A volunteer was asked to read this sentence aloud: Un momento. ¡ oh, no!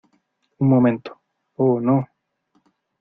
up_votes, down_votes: 2, 0